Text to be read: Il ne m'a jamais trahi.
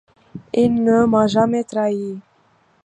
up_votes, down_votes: 2, 0